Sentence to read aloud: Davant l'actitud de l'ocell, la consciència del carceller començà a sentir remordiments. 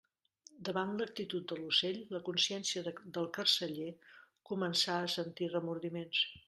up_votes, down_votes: 0, 2